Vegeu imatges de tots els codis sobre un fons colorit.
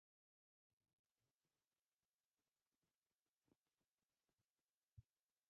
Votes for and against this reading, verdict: 0, 2, rejected